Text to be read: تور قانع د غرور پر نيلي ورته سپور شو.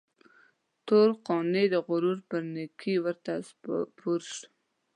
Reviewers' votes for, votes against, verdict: 0, 2, rejected